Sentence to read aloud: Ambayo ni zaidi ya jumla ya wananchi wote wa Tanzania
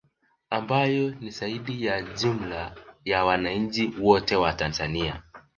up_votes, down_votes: 2, 1